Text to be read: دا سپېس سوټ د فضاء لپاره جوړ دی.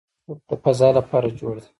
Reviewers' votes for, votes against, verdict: 0, 2, rejected